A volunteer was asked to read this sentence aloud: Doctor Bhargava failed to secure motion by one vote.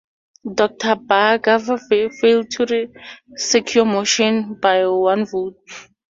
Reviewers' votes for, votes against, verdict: 0, 2, rejected